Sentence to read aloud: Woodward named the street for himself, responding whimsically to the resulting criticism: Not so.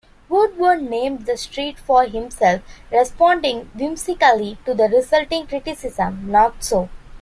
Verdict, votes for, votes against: accepted, 2, 0